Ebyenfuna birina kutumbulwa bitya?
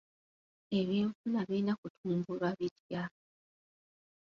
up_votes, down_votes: 2, 1